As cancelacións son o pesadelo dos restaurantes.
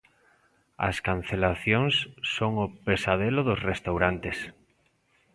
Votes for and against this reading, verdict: 2, 0, accepted